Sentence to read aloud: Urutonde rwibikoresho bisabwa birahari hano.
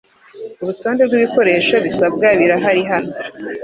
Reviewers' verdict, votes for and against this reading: accepted, 2, 0